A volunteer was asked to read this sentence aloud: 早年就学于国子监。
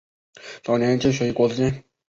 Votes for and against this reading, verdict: 0, 2, rejected